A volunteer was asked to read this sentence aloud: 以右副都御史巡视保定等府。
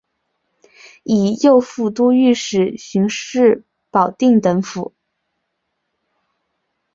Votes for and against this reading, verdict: 3, 0, accepted